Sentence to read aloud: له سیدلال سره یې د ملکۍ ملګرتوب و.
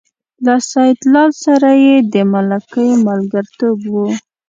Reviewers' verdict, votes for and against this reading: accepted, 2, 0